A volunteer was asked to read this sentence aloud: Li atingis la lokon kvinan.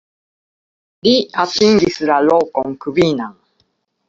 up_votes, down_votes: 2, 1